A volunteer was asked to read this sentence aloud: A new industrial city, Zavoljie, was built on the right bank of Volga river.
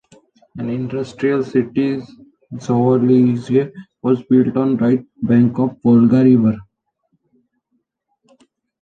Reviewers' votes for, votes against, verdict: 0, 2, rejected